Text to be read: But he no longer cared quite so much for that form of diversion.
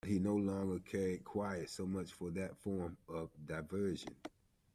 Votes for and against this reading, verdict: 0, 2, rejected